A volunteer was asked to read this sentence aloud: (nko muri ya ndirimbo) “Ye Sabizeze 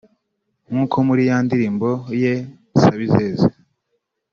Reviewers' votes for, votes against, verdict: 0, 2, rejected